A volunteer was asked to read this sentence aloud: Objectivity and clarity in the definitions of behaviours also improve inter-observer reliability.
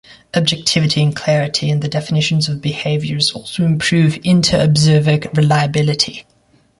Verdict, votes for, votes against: rejected, 0, 2